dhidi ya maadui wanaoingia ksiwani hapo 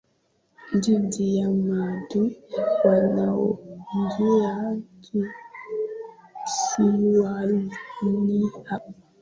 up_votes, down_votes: 1, 2